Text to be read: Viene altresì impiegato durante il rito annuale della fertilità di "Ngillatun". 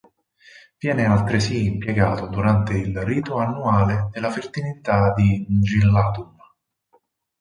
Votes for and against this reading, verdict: 6, 2, accepted